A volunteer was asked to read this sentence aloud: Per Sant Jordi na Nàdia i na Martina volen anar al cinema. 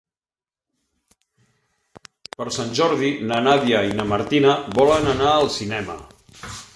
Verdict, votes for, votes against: rejected, 1, 2